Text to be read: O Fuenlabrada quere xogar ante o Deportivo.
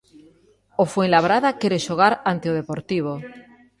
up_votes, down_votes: 1, 2